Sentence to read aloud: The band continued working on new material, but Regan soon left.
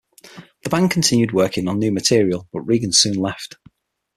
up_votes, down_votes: 6, 0